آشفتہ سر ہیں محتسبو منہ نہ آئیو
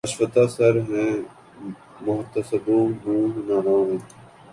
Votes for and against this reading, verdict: 2, 0, accepted